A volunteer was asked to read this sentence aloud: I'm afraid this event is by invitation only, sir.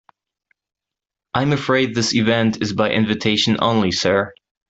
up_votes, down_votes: 2, 0